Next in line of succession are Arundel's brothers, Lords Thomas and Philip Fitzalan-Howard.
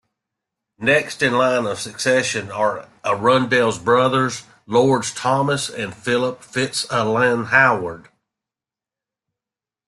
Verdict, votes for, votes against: accepted, 2, 0